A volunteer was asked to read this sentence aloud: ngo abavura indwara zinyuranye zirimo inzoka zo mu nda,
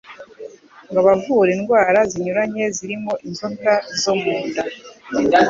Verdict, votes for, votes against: accepted, 2, 0